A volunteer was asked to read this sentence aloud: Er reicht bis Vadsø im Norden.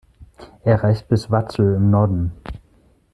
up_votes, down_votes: 1, 2